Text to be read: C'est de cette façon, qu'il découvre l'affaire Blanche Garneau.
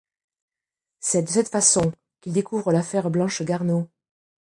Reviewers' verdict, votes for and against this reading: rejected, 0, 2